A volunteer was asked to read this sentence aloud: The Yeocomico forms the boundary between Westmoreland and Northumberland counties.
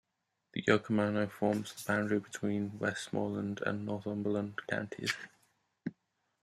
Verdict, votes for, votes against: rejected, 1, 2